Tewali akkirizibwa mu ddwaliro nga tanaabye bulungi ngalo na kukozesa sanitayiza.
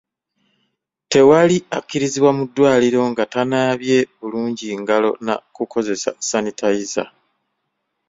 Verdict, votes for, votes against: accepted, 2, 0